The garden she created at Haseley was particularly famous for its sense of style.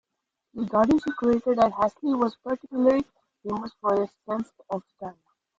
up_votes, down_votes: 0, 2